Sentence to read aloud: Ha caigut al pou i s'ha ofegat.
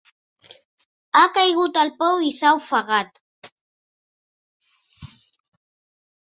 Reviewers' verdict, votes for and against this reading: accepted, 2, 0